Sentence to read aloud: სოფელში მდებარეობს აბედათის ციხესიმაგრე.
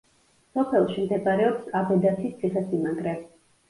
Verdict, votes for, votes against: rejected, 1, 2